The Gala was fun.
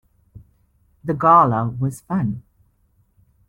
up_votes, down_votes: 2, 0